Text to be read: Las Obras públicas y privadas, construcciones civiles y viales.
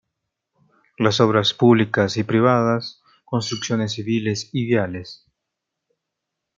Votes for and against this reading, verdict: 2, 1, accepted